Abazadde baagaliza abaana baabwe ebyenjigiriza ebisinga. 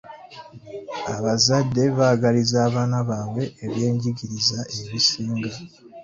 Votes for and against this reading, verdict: 2, 0, accepted